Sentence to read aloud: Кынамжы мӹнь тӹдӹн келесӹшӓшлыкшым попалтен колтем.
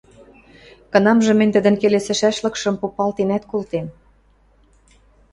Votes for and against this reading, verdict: 0, 2, rejected